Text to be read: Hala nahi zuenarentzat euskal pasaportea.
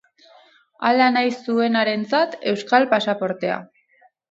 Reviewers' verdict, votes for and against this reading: rejected, 2, 2